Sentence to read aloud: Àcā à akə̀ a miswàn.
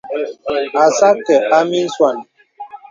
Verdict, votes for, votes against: accepted, 2, 0